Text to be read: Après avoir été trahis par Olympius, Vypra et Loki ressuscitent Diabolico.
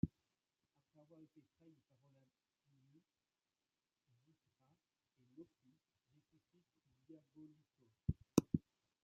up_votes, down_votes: 0, 2